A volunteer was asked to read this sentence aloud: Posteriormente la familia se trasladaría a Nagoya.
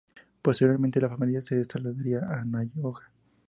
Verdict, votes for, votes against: rejected, 0, 2